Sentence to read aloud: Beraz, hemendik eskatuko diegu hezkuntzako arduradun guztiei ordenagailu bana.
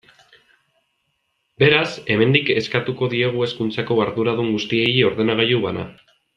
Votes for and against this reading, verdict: 2, 0, accepted